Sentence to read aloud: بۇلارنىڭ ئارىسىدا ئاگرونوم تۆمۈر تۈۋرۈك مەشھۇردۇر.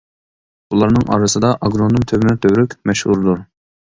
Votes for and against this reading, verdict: 0, 2, rejected